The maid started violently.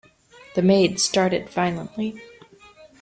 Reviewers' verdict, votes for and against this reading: accepted, 2, 0